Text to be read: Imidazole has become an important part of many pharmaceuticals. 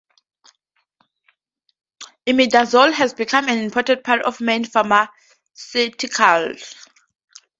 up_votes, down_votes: 0, 2